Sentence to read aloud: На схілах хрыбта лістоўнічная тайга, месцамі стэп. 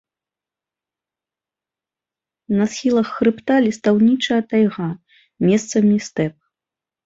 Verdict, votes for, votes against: rejected, 0, 2